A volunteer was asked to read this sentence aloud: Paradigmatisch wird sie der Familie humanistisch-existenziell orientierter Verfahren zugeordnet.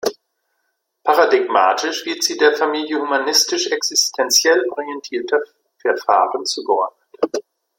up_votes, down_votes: 2, 1